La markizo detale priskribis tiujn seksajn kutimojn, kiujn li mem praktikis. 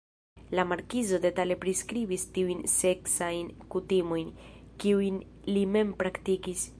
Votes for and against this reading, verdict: 2, 0, accepted